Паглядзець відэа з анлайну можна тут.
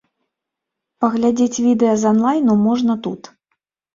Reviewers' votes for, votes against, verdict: 2, 0, accepted